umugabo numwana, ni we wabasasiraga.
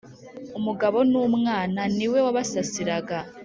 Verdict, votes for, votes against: accepted, 2, 0